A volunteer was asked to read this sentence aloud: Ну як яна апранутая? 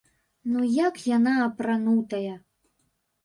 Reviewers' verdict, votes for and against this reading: accepted, 2, 0